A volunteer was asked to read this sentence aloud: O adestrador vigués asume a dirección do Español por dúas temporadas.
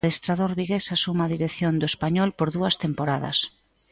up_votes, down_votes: 0, 2